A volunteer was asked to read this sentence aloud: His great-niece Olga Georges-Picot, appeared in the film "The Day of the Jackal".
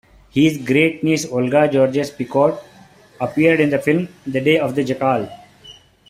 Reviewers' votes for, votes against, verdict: 1, 2, rejected